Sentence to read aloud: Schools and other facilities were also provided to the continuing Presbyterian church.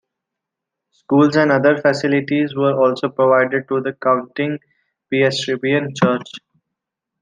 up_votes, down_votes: 2, 1